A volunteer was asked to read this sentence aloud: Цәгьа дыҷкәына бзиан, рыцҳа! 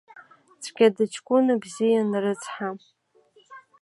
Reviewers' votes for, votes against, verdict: 2, 0, accepted